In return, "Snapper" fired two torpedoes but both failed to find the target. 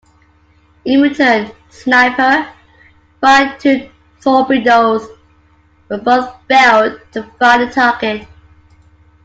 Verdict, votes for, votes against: accepted, 2, 1